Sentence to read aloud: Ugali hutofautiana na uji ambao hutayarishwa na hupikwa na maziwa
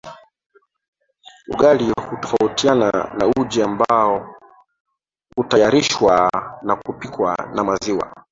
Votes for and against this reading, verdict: 2, 0, accepted